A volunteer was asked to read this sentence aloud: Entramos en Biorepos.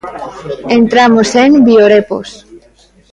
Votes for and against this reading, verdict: 2, 0, accepted